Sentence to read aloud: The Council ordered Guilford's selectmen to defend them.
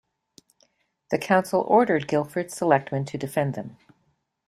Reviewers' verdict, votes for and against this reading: accepted, 2, 0